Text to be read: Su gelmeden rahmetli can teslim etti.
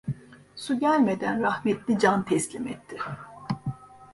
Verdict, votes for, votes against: accepted, 2, 0